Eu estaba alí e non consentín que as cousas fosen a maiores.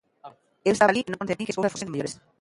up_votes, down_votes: 0, 4